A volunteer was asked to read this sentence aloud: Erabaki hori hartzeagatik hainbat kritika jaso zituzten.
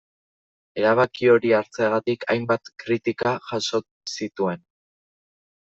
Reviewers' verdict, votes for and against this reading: rejected, 0, 2